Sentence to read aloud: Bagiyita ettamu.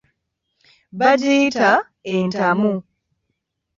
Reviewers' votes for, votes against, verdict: 1, 2, rejected